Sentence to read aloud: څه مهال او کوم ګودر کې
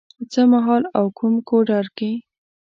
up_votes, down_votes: 1, 2